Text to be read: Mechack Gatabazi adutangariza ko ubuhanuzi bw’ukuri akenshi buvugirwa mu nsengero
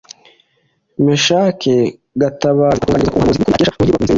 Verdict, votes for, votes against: rejected, 0, 2